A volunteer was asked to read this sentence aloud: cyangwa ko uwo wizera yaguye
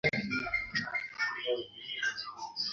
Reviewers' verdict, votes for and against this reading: rejected, 0, 2